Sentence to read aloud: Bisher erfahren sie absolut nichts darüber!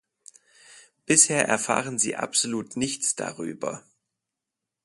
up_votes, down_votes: 4, 2